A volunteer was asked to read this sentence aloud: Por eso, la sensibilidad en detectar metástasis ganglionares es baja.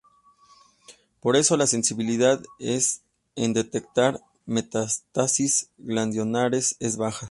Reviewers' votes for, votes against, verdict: 0, 2, rejected